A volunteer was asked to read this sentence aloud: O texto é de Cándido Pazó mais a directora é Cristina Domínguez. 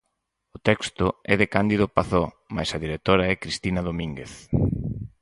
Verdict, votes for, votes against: accepted, 4, 0